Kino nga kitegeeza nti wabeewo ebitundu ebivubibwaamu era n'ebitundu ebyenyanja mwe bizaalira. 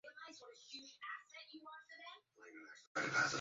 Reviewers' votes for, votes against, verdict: 0, 2, rejected